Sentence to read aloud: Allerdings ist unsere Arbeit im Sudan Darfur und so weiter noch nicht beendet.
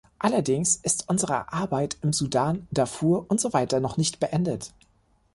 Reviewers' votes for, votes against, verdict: 2, 0, accepted